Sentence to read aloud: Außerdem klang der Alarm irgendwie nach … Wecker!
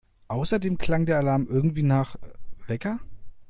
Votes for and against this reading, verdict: 2, 0, accepted